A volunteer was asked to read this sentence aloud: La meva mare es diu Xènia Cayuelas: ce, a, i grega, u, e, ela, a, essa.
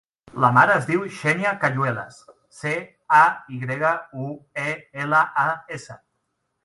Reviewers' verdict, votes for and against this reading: rejected, 0, 2